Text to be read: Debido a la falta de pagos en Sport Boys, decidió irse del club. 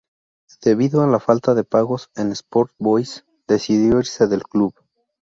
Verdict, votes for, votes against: rejected, 0, 2